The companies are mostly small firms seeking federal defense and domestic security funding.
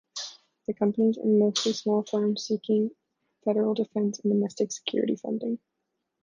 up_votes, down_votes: 2, 0